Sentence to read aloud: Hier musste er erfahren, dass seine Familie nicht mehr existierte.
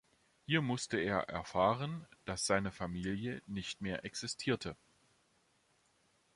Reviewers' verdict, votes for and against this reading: accepted, 2, 0